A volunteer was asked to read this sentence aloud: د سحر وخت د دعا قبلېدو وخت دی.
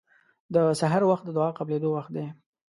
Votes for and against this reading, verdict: 2, 0, accepted